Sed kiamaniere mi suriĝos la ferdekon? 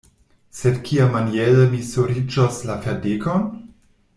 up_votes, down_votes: 1, 2